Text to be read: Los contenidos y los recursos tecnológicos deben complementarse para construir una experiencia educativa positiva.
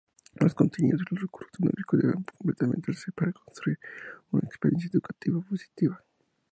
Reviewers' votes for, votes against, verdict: 0, 2, rejected